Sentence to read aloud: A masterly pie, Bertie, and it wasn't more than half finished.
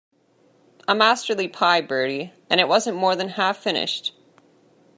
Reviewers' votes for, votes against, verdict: 2, 0, accepted